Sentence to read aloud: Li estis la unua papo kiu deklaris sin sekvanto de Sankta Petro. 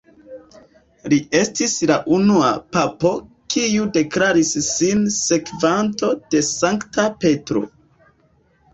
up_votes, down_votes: 2, 0